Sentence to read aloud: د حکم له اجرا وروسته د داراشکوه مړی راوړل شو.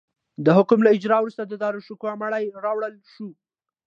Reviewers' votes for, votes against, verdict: 2, 0, accepted